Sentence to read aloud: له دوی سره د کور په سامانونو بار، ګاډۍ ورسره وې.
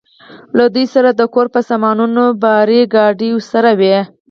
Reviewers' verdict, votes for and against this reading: accepted, 4, 0